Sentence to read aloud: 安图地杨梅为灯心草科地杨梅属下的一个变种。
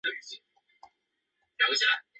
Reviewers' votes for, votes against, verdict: 0, 2, rejected